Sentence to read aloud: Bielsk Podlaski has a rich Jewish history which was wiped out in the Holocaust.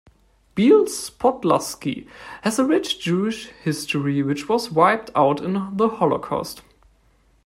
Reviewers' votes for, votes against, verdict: 2, 0, accepted